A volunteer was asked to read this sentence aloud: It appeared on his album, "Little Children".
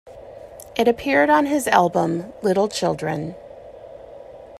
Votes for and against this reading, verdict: 2, 0, accepted